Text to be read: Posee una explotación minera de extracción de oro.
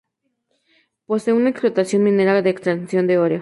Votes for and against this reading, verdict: 4, 0, accepted